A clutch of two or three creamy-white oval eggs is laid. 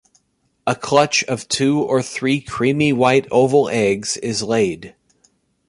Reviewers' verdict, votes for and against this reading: accepted, 2, 1